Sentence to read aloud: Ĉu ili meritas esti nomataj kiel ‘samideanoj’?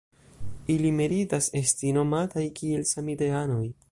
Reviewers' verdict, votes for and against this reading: rejected, 0, 4